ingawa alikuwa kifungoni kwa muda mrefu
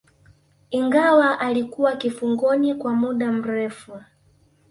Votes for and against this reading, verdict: 1, 2, rejected